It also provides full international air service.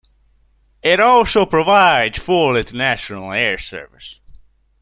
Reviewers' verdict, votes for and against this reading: accepted, 2, 0